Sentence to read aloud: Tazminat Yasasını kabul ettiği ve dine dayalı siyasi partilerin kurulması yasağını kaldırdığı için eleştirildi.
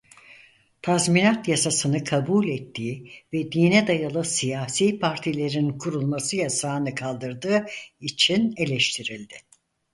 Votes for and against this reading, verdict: 4, 0, accepted